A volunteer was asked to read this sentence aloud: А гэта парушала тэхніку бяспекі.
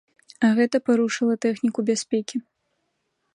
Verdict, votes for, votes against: rejected, 0, 2